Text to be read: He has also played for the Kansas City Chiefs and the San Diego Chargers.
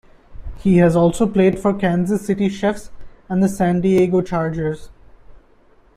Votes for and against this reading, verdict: 0, 2, rejected